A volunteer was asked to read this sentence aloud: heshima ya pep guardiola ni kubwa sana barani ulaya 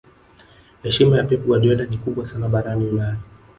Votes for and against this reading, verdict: 0, 2, rejected